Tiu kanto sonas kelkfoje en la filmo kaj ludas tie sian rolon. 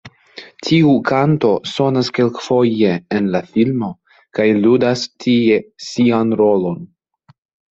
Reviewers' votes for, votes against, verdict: 2, 0, accepted